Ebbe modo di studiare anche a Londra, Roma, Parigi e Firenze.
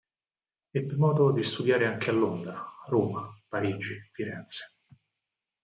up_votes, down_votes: 2, 4